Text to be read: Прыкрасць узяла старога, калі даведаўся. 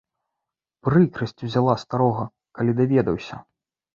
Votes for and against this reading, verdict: 2, 0, accepted